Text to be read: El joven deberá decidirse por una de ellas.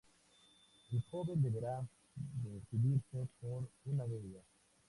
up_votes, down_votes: 0, 2